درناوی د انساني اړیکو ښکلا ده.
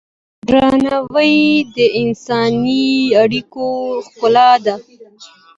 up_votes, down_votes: 2, 0